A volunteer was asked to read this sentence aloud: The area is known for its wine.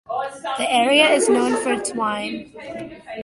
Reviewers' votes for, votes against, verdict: 1, 2, rejected